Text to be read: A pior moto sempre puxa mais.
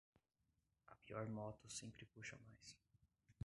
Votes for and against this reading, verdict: 1, 2, rejected